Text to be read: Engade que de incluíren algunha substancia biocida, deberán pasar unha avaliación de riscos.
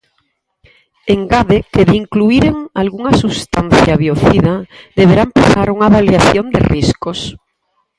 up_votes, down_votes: 0, 4